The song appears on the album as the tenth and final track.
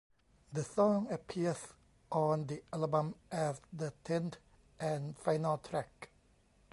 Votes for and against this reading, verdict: 1, 2, rejected